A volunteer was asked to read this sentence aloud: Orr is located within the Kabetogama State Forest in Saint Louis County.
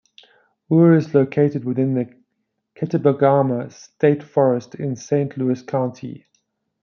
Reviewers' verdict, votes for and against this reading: rejected, 1, 2